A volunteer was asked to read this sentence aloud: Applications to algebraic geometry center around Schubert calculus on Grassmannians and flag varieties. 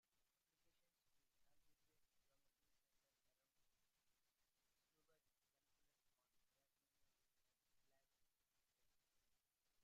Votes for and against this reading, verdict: 0, 2, rejected